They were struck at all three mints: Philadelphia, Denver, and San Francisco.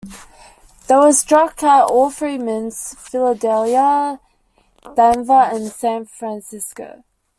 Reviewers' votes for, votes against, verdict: 1, 2, rejected